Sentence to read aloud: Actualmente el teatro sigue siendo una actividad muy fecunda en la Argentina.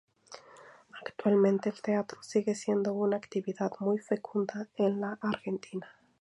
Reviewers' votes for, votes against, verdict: 4, 0, accepted